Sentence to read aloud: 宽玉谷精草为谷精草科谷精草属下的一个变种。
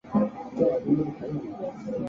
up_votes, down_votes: 0, 2